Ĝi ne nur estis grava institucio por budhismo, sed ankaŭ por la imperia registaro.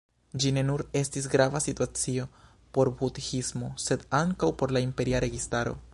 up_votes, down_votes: 0, 2